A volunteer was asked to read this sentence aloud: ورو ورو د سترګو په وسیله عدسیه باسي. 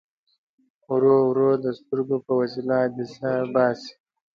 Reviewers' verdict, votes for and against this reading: accepted, 2, 1